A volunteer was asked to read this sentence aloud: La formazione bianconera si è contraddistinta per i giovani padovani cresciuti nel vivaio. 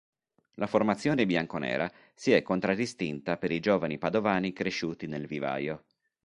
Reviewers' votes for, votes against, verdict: 2, 0, accepted